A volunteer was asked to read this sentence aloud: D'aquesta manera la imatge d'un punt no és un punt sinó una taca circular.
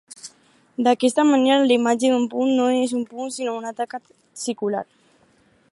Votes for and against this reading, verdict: 2, 2, rejected